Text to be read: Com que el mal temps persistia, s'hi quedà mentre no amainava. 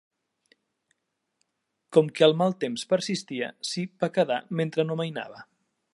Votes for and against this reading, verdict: 1, 2, rejected